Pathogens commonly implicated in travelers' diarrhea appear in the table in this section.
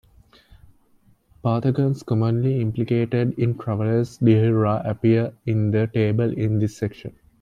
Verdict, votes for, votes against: rejected, 0, 2